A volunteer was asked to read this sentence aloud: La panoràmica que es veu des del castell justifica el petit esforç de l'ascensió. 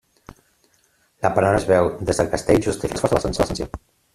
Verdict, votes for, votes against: rejected, 0, 2